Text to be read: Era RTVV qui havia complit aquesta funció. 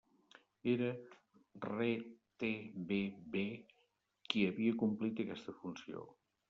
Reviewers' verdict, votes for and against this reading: rejected, 1, 2